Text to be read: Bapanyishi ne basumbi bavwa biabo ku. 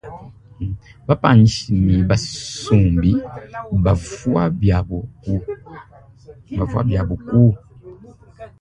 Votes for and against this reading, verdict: 2, 1, accepted